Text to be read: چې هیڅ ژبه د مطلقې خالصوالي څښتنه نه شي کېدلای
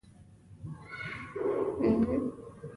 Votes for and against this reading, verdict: 0, 2, rejected